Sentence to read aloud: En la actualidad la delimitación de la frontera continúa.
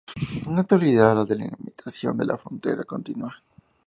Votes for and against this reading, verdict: 2, 0, accepted